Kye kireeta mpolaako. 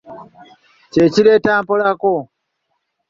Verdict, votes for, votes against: accepted, 2, 0